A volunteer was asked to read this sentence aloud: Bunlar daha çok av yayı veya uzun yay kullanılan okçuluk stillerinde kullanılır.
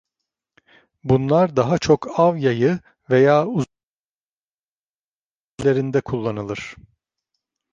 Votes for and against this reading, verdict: 0, 2, rejected